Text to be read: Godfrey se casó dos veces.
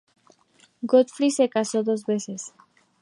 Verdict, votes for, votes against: accepted, 2, 0